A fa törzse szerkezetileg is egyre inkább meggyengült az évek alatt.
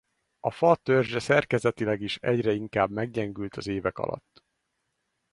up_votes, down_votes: 4, 0